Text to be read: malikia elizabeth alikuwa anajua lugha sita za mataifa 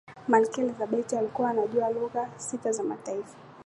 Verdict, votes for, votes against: accepted, 2, 1